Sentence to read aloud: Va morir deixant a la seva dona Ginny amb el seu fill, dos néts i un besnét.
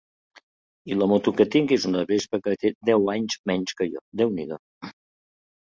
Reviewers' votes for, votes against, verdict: 0, 2, rejected